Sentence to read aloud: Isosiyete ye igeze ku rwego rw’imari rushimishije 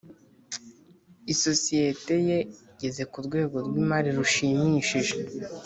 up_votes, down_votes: 3, 0